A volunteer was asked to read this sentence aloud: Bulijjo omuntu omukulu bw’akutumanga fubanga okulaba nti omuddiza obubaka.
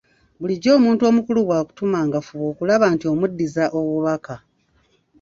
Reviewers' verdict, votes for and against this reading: rejected, 1, 2